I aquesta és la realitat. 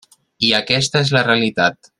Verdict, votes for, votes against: accepted, 3, 0